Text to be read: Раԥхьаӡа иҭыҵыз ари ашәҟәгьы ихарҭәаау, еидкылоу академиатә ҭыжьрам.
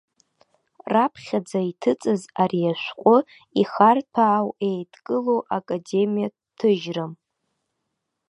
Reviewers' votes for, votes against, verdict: 0, 2, rejected